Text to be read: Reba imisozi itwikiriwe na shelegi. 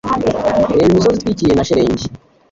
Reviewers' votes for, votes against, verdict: 2, 0, accepted